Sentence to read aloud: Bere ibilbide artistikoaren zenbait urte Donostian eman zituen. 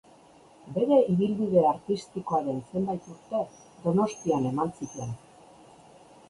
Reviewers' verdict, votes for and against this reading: accepted, 2, 1